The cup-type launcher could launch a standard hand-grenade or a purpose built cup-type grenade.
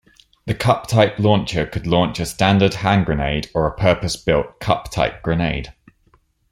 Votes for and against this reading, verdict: 2, 0, accepted